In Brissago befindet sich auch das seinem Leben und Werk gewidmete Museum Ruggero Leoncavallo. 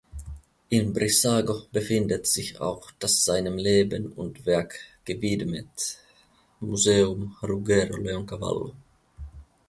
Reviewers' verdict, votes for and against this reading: rejected, 0, 2